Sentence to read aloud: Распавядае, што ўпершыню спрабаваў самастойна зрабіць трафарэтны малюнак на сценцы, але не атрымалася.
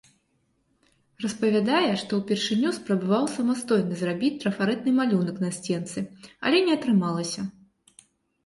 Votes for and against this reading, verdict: 5, 0, accepted